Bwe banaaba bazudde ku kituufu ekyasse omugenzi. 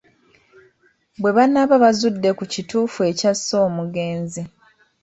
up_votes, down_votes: 2, 0